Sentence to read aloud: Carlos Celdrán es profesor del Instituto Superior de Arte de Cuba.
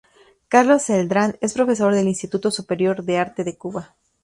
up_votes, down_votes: 2, 2